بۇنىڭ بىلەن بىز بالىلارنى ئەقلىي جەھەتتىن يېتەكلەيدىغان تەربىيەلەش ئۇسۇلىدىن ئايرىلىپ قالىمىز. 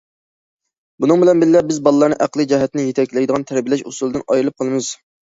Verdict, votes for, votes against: rejected, 0, 2